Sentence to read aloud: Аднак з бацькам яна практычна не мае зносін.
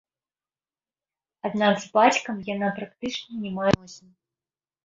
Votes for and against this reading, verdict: 1, 2, rejected